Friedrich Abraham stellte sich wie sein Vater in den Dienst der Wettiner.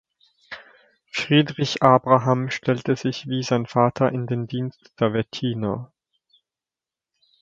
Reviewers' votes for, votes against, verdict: 2, 0, accepted